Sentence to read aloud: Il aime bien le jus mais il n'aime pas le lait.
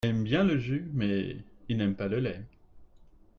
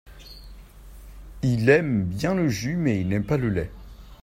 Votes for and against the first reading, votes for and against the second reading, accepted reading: 1, 2, 2, 1, second